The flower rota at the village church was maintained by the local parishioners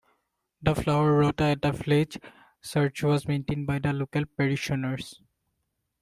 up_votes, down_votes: 1, 2